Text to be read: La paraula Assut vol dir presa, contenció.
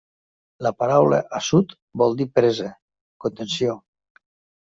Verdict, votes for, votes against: accepted, 2, 0